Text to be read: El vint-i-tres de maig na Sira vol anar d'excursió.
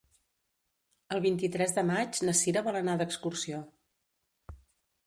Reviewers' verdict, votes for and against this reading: accepted, 2, 0